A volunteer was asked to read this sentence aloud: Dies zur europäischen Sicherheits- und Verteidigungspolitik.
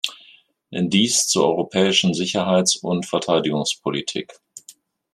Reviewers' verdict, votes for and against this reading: accepted, 3, 2